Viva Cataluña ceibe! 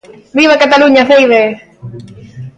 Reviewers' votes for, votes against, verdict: 0, 2, rejected